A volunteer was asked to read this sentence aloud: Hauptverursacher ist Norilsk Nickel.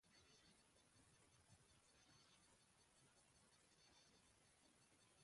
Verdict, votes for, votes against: rejected, 0, 2